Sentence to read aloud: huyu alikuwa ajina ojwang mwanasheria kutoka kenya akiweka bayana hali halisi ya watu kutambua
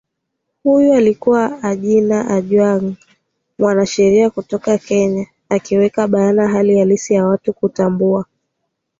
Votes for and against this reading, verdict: 2, 0, accepted